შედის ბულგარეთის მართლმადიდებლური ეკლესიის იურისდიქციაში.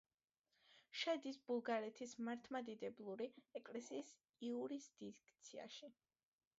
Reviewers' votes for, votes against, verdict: 2, 1, accepted